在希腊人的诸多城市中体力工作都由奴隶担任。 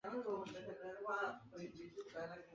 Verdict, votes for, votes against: rejected, 0, 2